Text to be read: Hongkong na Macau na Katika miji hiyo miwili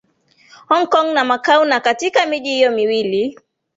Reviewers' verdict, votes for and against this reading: accepted, 2, 0